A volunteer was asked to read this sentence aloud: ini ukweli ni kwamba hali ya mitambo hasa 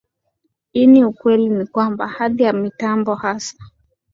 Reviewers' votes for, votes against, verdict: 2, 0, accepted